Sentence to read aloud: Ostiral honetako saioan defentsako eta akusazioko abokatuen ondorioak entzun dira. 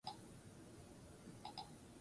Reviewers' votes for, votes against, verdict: 2, 6, rejected